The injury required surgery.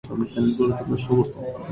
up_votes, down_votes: 0, 2